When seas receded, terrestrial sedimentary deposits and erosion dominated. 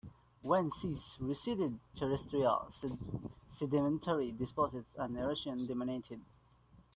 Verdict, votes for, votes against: rejected, 0, 2